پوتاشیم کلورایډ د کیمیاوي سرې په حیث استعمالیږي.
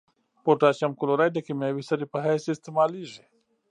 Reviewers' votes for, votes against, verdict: 2, 0, accepted